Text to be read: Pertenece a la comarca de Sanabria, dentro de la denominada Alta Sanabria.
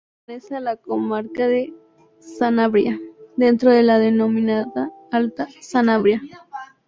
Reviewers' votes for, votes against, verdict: 0, 2, rejected